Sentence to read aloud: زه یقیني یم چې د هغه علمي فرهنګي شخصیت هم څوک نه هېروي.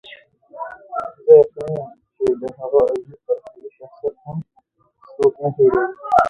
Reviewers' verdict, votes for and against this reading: rejected, 0, 2